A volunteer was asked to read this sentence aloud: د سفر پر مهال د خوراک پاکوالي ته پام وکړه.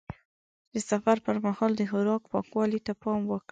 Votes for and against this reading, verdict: 2, 0, accepted